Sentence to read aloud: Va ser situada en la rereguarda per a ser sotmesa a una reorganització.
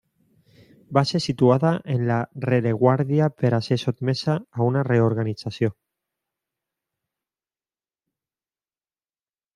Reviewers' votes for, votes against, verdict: 0, 2, rejected